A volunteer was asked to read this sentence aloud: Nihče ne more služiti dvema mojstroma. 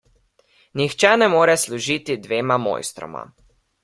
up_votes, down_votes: 1, 2